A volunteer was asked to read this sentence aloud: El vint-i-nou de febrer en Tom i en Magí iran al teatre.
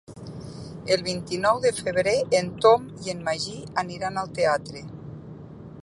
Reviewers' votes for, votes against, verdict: 1, 2, rejected